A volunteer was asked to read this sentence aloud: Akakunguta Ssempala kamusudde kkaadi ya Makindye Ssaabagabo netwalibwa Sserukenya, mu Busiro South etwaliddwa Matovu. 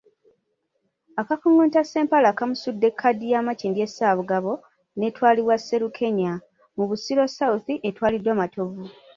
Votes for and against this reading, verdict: 2, 1, accepted